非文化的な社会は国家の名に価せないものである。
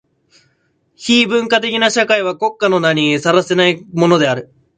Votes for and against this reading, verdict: 0, 2, rejected